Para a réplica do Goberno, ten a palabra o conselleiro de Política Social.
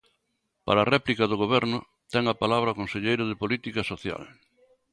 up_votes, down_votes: 2, 0